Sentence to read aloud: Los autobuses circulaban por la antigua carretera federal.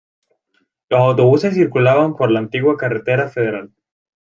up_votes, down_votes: 4, 0